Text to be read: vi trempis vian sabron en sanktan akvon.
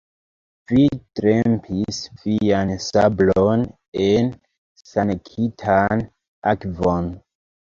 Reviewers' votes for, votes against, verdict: 0, 2, rejected